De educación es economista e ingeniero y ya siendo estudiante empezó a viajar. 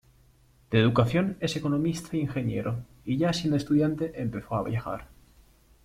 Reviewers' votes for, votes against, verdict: 2, 1, accepted